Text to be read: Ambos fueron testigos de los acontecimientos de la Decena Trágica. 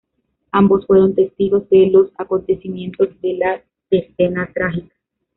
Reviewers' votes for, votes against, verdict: 1, 2, rejected